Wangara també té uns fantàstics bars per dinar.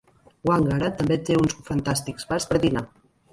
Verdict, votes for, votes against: rejected, 1, 2